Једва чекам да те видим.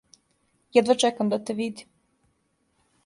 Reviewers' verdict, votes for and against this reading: accepted, 2, 0